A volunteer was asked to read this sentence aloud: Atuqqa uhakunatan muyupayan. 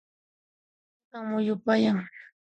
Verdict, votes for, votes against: rejected, 0, 2